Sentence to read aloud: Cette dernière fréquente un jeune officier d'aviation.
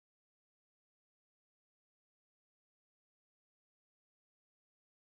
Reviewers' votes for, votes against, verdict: 0, 2, rejected